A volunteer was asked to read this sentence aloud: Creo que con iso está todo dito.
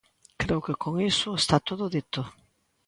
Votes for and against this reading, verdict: 2, 0, accepted